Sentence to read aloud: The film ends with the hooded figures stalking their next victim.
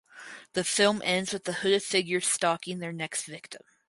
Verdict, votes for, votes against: accepted, 4, 0